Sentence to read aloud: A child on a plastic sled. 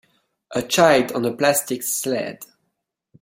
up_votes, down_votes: 2, 1